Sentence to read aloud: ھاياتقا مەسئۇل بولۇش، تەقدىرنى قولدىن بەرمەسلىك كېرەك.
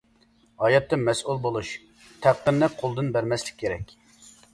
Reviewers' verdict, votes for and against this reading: accepted, 2, 1